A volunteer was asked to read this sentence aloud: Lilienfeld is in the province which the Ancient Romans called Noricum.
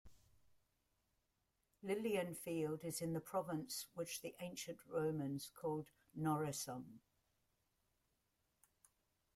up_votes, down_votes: 2, 1